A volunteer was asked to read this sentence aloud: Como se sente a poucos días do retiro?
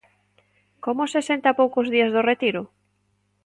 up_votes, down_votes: 2, 0